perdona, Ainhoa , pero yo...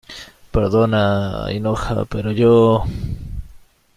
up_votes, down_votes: 1, 2